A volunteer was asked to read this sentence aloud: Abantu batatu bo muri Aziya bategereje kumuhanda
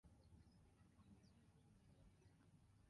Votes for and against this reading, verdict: 0, 2, rejected